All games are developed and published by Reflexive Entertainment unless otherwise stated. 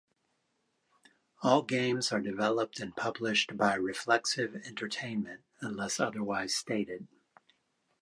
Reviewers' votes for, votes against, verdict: 2, 1, accepted